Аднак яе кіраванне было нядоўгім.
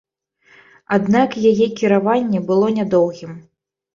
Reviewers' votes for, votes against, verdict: 2, 0, accepted